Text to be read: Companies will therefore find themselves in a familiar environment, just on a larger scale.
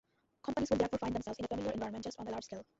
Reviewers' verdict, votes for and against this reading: rejected, 0, 2